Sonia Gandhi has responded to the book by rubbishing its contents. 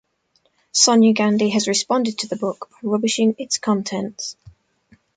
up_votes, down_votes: 1, 2